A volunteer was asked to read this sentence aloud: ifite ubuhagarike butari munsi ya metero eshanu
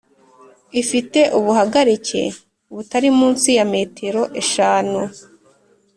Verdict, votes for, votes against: accepted, 2, 0